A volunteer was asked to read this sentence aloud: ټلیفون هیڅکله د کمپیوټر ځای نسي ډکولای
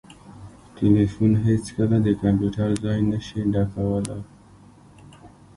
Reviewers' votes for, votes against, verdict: 2, 1, accepted